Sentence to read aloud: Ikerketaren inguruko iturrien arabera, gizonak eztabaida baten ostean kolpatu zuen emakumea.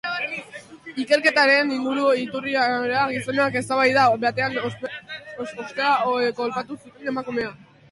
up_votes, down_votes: 0, 2